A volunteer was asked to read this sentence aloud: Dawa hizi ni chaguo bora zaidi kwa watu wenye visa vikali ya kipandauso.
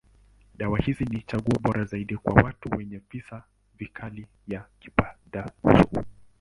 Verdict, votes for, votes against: rejected, 1, 2